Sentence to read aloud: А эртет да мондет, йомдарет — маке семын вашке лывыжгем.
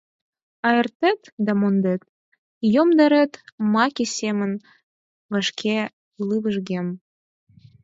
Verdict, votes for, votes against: accepted, 4, 0